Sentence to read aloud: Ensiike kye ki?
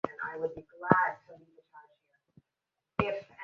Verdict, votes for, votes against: rejected, 0, 2